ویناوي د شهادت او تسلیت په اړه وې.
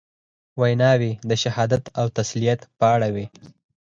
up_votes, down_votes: 0, 4